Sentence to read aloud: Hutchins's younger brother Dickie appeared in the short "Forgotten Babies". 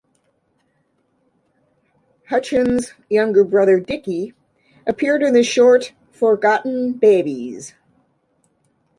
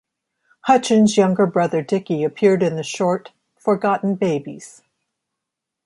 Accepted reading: second